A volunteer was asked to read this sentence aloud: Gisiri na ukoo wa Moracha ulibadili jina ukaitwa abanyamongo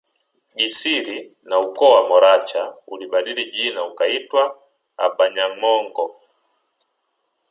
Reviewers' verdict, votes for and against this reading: accepted, 3, 0